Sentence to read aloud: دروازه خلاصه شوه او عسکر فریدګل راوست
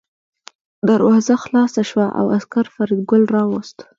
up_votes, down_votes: 1, 2